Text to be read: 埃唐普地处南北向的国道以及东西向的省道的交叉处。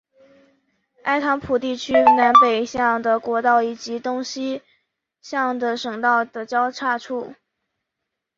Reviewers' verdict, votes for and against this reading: accepted, 2, 0